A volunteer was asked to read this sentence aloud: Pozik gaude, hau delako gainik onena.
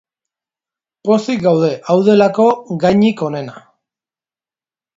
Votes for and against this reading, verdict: 2, 0, accepted